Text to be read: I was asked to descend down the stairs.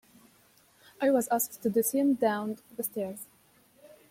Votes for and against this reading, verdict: 2, 0, accepted